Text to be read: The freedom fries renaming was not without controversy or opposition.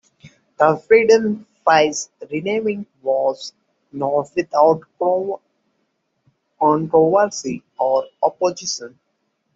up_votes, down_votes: 0, 2